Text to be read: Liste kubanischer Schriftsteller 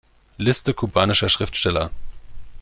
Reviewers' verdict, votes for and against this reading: accepted, 2, 0